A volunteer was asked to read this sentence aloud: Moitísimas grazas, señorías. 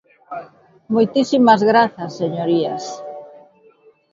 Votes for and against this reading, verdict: 2, 0, accepted